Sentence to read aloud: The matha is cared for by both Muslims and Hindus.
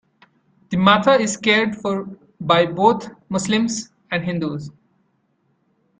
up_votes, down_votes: 2, 0